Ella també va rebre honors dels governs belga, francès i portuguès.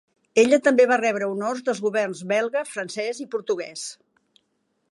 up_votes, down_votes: 2, 1